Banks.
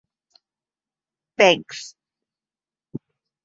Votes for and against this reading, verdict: 10, 0, accepted